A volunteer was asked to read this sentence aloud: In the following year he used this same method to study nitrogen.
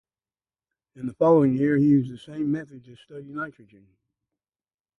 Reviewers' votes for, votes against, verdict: 4, 0, accepted